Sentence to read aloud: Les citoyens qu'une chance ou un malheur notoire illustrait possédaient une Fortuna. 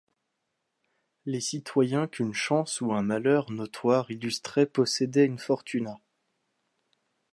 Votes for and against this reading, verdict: 2, 0, accepted